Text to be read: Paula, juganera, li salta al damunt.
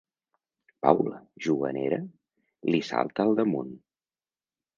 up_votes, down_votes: 2, 0